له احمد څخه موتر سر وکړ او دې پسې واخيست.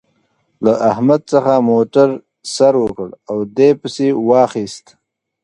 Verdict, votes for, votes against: rejected, 1, 2